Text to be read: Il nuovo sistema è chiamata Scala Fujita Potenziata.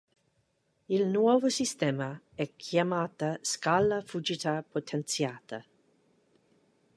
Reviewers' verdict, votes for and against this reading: accepted, 2, 0